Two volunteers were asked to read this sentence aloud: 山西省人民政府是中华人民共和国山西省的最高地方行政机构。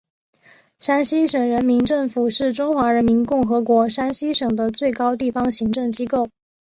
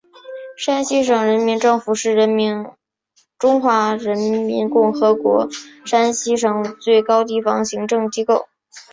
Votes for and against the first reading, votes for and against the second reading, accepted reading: 2, 1, 0, 3, first